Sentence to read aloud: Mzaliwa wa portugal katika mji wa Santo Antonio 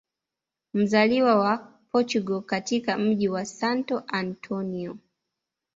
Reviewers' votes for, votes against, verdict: 2, 0, accepted